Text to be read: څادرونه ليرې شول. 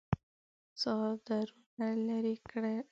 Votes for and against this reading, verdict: 0, 2, rejected